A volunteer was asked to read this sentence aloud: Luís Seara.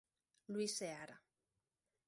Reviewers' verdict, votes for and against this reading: accepted, 2, 0